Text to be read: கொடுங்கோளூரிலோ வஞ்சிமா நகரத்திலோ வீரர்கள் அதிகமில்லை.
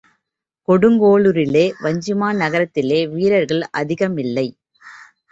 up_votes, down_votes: 1, 3